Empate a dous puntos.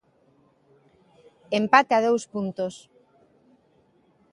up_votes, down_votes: 2, 0